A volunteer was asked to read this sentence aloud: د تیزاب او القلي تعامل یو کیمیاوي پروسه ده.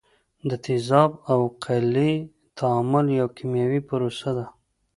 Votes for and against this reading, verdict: 2, 0, accepted